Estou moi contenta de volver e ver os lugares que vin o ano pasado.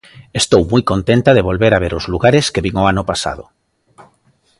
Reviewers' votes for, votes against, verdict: 0, 2, rejected